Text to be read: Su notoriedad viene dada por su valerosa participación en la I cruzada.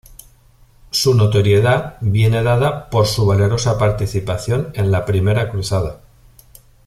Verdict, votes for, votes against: accepted, 2, 0